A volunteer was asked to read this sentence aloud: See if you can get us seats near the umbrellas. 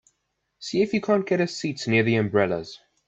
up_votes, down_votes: 0, 2